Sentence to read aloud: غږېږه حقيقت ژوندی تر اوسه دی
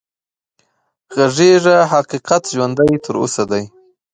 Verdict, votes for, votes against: accepted, 2, 0